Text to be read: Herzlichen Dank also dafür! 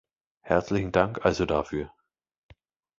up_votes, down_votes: 2, 0